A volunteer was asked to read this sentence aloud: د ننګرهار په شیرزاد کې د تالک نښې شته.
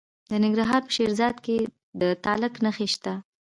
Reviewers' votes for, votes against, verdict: 2, 0, accepted